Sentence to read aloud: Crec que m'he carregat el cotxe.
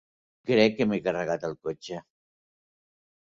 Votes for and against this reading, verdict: 2, 0, accepted